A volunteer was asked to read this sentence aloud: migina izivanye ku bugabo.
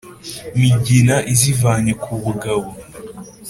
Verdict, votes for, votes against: accepted, 3, 0